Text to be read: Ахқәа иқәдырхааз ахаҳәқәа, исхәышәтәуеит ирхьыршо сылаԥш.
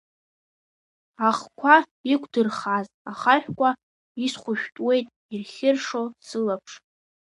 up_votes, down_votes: 2, 0